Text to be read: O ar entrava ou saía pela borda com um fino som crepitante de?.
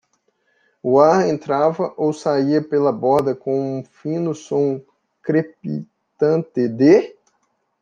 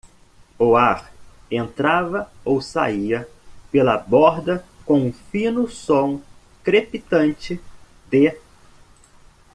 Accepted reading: second